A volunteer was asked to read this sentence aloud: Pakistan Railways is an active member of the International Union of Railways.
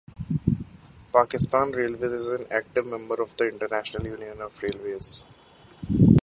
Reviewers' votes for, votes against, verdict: 1, 2, rejected